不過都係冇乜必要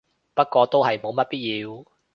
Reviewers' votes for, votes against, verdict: 2, 0, accepted